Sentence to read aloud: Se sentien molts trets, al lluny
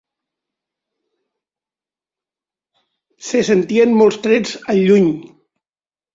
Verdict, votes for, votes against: accepted, 4, 0